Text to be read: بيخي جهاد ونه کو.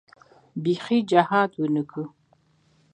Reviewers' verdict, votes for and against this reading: accepted, 2, 1